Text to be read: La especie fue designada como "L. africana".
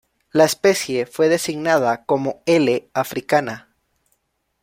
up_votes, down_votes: 2, 0